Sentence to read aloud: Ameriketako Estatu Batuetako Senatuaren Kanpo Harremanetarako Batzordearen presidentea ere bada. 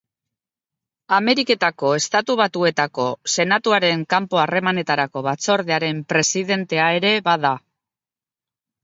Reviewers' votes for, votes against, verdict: 2, 0, accepted